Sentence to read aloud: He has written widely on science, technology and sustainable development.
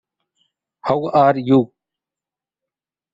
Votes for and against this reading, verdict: 0, 2, rejected